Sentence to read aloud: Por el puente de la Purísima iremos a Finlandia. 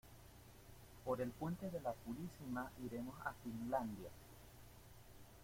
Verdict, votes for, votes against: accepted, 2, 1